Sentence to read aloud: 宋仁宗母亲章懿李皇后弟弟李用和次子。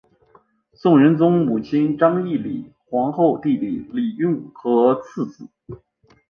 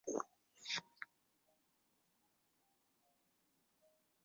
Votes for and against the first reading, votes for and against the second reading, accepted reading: 3, 2, 1, 4, first